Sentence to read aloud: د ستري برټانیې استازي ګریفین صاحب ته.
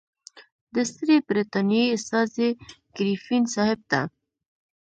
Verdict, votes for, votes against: rejected, 1, 2